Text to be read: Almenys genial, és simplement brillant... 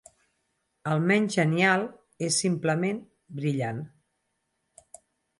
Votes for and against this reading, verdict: 4, 0, accepted